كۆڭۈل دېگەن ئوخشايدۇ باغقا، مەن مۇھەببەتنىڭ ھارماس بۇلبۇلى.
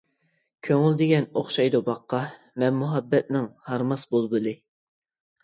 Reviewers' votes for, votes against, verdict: 2, 0, accepted